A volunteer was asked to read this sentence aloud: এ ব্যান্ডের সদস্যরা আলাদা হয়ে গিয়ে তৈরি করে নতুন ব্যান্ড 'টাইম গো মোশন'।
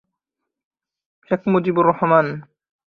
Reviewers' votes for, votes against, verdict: 1, 11, rejected